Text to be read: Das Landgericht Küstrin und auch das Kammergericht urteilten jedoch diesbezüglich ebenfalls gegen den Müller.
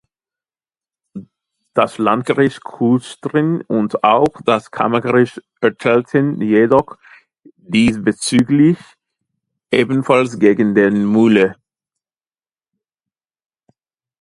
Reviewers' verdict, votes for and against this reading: rejected, 0, 2